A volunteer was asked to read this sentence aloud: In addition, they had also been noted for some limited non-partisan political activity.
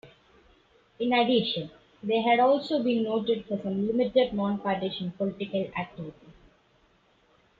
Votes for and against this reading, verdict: 2, 1, accepted